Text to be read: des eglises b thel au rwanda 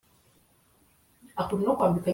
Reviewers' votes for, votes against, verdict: 0, 2, rejected